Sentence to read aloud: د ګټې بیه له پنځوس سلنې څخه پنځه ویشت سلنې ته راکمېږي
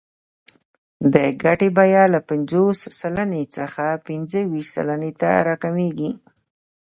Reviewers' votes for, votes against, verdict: 2, 0, accepted